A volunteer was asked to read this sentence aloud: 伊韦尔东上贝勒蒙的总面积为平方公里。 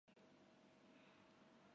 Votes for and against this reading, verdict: 2, 3, rejected